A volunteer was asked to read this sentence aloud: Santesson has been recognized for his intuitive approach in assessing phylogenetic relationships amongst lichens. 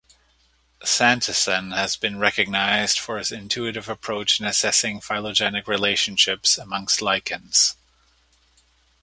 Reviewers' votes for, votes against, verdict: 0, 2, rejected